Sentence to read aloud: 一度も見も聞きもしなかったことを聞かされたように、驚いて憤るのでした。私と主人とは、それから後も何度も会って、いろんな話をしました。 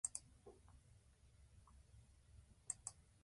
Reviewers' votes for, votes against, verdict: 1, 4, rejected